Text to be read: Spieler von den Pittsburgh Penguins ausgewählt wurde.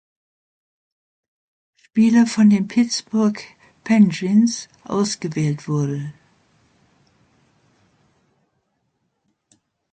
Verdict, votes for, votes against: accepted, 2, 0